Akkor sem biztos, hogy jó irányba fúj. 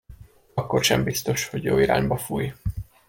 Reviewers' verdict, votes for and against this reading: accepted, 2, 0